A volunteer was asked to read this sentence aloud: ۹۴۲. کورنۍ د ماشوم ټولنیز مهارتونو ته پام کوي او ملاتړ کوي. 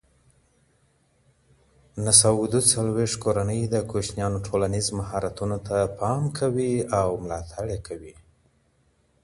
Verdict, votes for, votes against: rejected, 0, 2